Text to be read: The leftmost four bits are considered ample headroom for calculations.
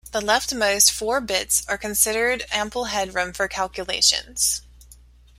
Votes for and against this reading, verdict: 2, 0, accepted